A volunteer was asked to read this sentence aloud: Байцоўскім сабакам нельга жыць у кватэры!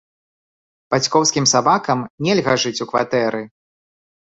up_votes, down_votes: 0, 2